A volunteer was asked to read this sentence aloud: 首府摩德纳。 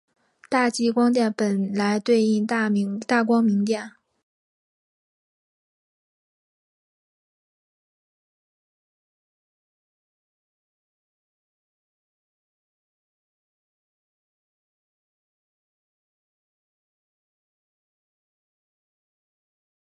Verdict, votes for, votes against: rejected, 0, 3